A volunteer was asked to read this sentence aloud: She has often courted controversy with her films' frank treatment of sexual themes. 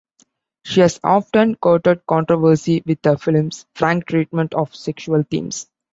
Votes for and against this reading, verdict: 2, 0, accepted